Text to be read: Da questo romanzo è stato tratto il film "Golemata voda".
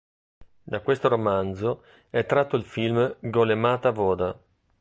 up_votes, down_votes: 1, 2